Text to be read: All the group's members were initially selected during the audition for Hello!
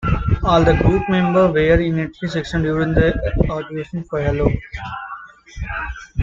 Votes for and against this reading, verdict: 0, 2, rejected